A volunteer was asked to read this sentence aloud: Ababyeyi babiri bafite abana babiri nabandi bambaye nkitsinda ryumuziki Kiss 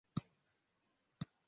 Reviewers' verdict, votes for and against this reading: rejected, 0, 2